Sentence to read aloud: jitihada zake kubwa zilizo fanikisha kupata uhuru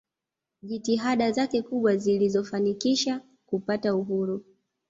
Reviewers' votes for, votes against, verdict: 2, 0, accepted